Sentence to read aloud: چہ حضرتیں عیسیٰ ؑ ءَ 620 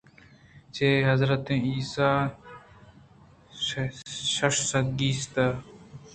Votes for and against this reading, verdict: 0, 2, rejected